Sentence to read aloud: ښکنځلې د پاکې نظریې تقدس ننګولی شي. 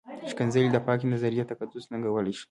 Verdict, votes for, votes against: rejected, 0, 2